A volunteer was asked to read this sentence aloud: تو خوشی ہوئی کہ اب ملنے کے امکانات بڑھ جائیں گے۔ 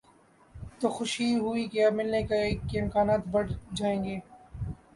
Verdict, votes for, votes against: accepted, 3, 1